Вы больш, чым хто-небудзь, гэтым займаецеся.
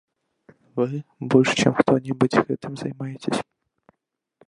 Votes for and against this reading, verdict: 1, 2, rejected